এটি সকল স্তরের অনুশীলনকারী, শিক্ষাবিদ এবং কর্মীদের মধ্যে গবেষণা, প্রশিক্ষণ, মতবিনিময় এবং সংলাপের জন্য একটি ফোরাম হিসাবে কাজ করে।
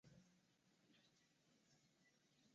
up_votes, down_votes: 0, 4